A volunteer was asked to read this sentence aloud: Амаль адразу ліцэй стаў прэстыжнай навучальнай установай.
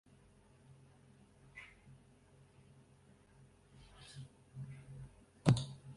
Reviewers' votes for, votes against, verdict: 0, 2, rejected